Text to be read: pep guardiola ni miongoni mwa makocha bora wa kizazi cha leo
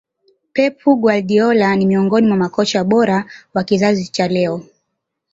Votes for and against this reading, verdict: 2, 1, accepted